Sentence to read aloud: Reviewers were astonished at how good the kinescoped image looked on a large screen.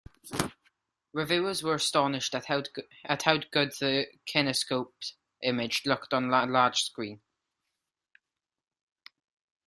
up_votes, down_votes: 0, 2